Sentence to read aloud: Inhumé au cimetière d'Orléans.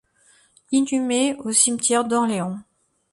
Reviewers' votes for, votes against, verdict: 1, 2, rejected